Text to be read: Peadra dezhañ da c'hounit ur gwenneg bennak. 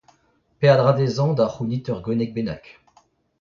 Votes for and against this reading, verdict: 0, 2, rejected